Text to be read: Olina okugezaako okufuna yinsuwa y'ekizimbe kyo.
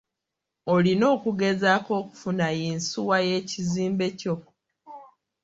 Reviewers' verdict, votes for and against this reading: accepted, 2, 0